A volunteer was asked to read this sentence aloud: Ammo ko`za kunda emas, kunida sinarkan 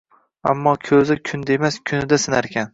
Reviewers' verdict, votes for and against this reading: accepted, 2, 0